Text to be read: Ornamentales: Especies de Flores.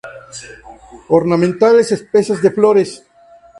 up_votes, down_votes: 2, 0